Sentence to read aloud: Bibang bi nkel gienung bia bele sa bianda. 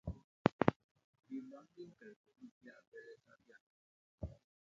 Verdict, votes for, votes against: rejected, 0, 3